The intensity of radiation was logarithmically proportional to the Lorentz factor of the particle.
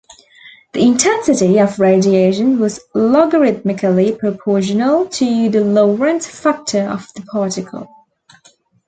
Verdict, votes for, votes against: accepted, 2, 0